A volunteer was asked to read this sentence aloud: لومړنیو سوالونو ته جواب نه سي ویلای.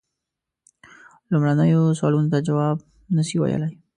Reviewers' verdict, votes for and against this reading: accepted, 2, 0